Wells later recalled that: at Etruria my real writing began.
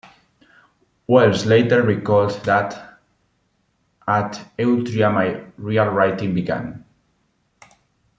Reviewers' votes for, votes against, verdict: 1, 2, rejected